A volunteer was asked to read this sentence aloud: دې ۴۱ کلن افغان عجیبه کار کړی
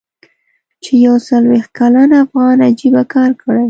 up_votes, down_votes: 0, 2